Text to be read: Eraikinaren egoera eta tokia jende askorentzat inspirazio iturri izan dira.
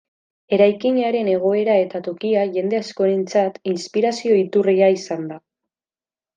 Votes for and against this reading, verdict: 0, 2, rejected